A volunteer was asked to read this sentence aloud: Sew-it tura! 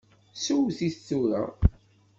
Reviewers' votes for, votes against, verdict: 3, 0, accepted